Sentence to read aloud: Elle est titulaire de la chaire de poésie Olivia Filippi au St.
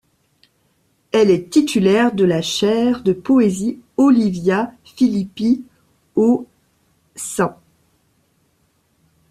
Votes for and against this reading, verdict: 2, 1, accepted